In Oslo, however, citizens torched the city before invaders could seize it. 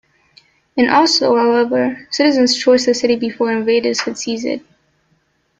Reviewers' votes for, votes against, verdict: 2, 0, accepted